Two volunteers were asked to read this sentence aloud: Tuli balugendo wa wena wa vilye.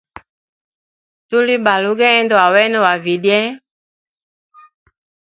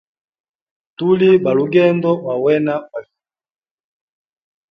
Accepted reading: first